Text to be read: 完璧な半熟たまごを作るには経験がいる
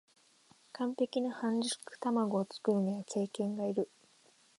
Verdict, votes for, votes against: accepted, 2, 0